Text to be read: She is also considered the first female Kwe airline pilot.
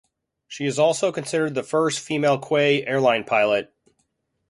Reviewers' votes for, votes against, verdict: 2, 0, accepted